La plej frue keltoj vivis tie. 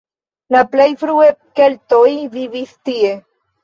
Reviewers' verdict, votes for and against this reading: accepted, 2, 1